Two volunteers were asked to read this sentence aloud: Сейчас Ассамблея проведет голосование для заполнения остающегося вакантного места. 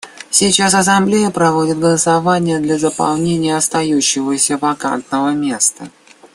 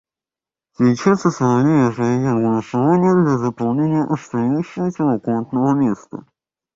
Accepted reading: first